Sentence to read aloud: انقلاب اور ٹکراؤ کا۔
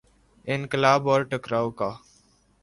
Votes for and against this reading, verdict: 3, 0, accepted